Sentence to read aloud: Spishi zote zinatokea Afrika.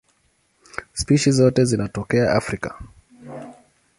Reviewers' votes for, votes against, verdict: 17, 2, accepted